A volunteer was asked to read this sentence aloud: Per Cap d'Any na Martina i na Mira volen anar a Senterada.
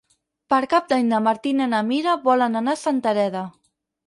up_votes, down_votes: 0, 4